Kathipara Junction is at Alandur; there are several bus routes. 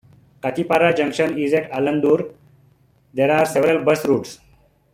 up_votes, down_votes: 2, 0